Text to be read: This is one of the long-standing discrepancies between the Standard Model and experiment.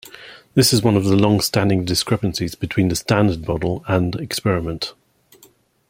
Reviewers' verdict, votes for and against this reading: accepted, 2, 0